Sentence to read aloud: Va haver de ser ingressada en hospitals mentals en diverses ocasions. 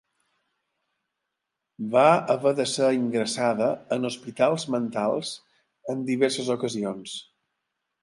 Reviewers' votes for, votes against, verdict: 4, 0, accepted